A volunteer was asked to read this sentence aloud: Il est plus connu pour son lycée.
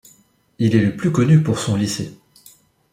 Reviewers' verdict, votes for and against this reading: rejected, 0, 2